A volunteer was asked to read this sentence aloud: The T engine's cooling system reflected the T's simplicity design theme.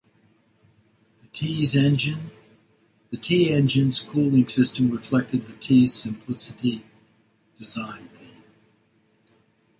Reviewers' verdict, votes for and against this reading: rejected, 0, 2